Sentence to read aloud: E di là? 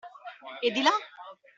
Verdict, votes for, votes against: accepted, 2, 0